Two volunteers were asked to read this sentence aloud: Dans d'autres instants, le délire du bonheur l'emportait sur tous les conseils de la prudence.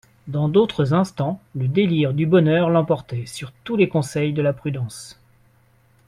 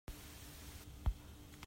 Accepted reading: first